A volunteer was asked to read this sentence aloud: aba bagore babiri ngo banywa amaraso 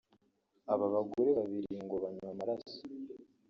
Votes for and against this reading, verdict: 3, 2, accepted